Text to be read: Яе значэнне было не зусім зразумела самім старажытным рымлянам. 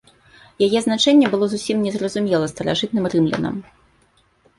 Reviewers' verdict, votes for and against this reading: rejected, 0, 2